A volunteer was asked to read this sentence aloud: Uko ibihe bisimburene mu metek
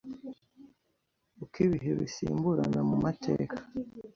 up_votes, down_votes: 1, 2